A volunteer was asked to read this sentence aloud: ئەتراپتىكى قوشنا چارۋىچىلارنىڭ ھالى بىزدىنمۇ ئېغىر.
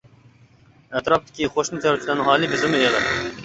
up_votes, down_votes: 0, 2